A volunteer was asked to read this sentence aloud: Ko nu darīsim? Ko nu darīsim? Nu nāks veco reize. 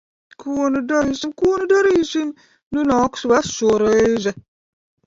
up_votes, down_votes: 1, 2